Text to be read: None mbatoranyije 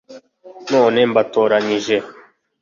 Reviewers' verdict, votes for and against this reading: accepted, 3, 0